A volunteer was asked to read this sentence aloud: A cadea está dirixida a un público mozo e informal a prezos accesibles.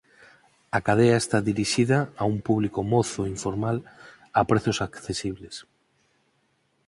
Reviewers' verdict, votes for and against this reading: accepted, 4, 0